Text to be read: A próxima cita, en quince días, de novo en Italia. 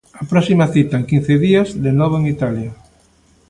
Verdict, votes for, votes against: accepted, 2, 0